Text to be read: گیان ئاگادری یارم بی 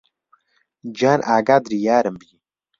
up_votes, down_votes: 0, 2